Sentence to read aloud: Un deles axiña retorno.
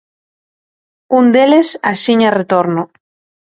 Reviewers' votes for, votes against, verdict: 2, 0, accepted